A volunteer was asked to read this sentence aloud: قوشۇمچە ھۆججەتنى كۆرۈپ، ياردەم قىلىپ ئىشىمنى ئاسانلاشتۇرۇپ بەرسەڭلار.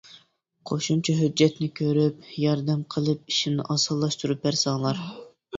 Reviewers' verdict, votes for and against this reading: accepted, 3, 0